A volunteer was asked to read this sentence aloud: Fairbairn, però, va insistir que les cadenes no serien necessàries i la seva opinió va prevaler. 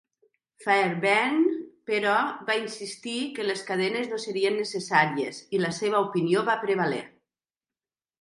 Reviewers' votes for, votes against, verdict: 2, 0, accepted